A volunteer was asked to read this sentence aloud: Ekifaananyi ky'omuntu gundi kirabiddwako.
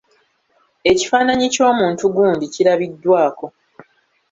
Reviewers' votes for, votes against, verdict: 1, 2, rejected